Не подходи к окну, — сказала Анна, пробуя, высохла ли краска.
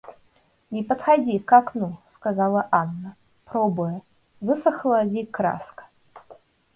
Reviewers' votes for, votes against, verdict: 2, 0, accepted